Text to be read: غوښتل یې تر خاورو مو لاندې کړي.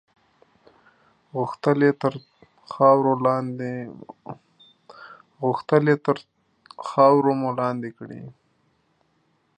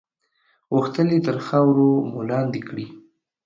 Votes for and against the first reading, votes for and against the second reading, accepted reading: 1, 2, 2, 0, second